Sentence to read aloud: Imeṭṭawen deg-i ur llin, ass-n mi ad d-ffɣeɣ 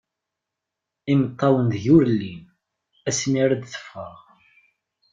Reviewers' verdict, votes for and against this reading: rejected, 1, 2